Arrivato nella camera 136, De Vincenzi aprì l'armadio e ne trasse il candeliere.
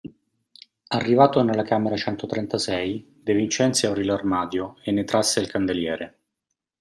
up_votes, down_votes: 0, 2